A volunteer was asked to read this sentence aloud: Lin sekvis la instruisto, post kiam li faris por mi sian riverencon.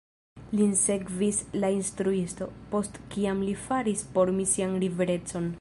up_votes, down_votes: 1, 2